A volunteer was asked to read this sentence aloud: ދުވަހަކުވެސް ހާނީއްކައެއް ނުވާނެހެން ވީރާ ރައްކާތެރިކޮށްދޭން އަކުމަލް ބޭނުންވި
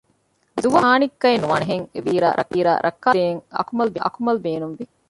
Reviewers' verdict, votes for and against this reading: rejected, 0, 2